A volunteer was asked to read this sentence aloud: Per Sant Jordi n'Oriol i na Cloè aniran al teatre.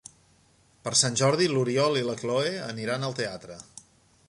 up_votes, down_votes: 2, 1